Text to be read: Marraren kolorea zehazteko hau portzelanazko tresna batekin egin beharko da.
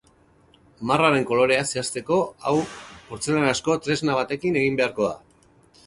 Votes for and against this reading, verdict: 8, 0, accepted